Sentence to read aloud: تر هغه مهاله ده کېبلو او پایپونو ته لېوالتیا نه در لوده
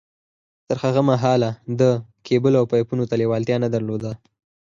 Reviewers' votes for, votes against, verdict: 4, 0, accepted